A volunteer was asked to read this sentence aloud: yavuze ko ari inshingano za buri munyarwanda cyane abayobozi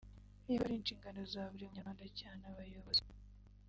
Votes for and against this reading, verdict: 1, 2, rejected